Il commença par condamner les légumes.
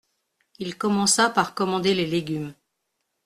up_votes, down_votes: 1, 2